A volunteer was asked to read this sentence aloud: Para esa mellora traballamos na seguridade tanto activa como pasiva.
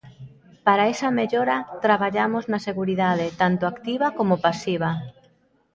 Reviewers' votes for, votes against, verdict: 1, 2, rejected